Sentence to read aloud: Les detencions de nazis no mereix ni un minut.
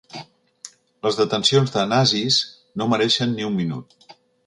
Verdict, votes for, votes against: rejected, 1, 4